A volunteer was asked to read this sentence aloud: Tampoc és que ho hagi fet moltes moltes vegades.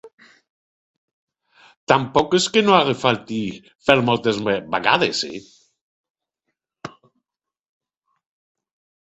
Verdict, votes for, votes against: rejected, 0, 2